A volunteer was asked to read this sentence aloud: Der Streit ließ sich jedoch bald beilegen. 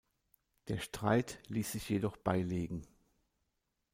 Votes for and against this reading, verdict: 0, 2, rejected